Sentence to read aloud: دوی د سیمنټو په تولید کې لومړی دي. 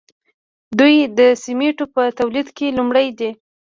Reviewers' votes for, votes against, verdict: 1, 2, rejected